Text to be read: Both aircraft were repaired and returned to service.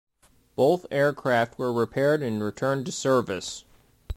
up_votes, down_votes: 2, 0